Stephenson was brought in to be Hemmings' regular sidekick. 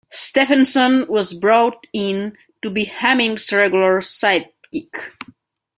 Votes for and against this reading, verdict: 2, 1, accepted